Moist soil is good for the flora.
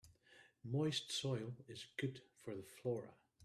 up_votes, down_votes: 1, 2